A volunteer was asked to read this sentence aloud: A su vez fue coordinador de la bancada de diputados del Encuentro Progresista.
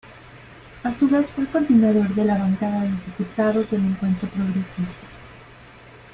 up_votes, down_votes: 0, 2